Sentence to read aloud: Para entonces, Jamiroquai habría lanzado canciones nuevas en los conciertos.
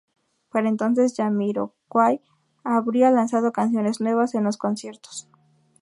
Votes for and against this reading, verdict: 2, 0, accepted